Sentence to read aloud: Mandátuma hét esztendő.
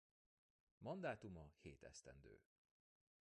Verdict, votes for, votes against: rejected, 1, 2